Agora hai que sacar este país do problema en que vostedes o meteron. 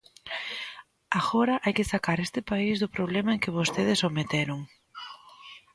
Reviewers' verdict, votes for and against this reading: accepted, 2, 0